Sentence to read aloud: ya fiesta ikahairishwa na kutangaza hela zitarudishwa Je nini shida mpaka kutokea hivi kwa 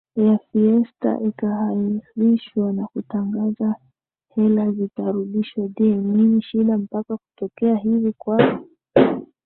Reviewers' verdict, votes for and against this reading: accepted, 2, 1